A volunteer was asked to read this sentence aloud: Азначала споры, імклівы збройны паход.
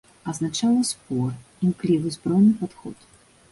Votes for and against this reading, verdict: 2, 3, rejected